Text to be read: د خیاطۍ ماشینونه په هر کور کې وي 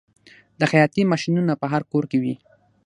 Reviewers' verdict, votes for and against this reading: accepted, 6, 3